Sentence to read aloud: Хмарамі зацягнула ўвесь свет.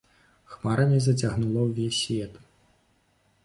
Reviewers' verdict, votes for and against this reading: accepted, 2, 0